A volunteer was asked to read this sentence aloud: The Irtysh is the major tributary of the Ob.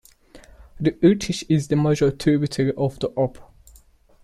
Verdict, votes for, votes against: accepted, 2, 0